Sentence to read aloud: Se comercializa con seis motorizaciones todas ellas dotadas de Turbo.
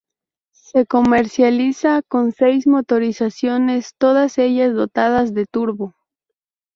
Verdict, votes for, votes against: accepted, 2, 0